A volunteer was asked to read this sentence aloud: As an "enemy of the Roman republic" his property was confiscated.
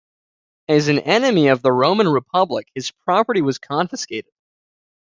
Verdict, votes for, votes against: rejected, 0, 2